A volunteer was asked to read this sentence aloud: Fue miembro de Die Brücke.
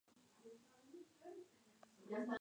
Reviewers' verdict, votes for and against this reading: rejected, 0, 2